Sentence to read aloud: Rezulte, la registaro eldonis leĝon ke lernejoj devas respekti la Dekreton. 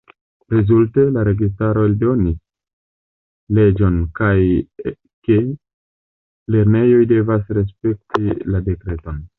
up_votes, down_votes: 1, 2